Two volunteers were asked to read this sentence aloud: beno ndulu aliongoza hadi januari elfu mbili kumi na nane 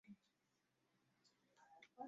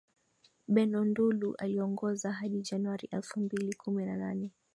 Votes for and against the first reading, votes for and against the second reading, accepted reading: 0, 2, 2, 0, second